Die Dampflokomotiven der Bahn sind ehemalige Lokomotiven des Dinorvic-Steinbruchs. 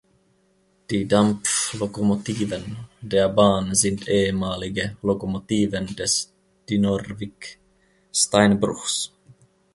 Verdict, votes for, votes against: rejected, 1, 2